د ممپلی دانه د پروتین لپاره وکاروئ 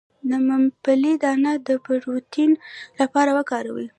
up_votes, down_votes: 2, 0